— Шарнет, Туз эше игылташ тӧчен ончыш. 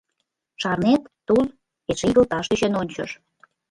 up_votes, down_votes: 2, 0